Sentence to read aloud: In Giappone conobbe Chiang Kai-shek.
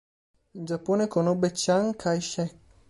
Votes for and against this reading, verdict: 0, 2, rejected